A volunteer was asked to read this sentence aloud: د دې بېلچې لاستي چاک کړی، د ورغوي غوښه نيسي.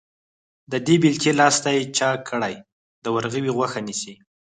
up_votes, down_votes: 2, 4